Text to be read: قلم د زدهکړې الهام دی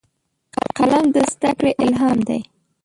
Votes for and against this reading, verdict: 1, 2, rejected